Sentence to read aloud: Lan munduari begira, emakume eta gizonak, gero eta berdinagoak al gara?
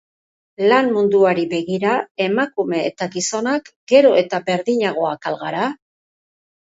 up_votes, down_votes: 2, 0